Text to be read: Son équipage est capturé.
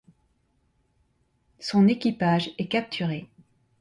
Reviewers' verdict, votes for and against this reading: accepted, 2, 0